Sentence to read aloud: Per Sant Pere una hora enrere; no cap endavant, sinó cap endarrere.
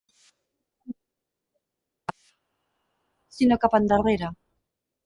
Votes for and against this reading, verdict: 0, 4, rejected